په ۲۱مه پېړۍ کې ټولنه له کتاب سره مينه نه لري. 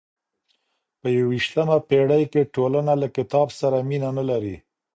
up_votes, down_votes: 0, 2